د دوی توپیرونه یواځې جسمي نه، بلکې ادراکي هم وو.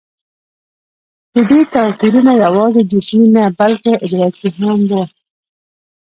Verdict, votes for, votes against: rejected, 1, 2